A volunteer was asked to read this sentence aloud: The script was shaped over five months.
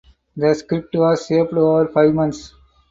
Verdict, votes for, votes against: rejected, 4, 4